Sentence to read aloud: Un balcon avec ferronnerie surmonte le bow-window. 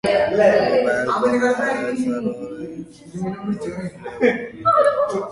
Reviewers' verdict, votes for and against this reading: rejected, 0, 2